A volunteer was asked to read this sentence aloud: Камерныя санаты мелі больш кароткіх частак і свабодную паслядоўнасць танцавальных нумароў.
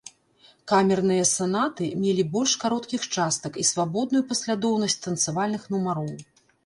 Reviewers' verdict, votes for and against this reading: accepted, 2, 0